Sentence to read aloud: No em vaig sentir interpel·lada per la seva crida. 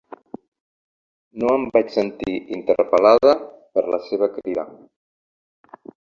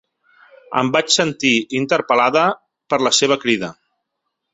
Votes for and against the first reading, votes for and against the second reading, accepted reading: 2, 0, 0, 2, first